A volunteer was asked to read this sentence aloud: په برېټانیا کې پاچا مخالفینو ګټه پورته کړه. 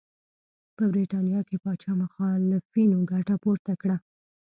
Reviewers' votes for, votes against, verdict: 2, 0, accepted